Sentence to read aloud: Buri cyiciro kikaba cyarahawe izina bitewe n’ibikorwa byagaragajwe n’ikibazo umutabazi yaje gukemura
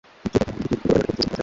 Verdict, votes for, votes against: rejected, 1, 2